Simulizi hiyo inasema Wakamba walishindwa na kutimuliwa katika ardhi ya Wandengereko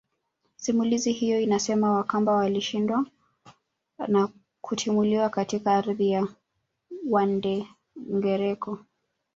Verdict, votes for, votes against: rejected, 1, 2